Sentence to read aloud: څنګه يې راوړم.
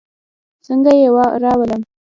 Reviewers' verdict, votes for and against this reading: accepted, 2, 0